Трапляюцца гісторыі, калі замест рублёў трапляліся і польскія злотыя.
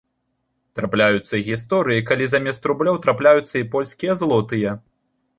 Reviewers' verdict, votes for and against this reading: rejected, 0, 2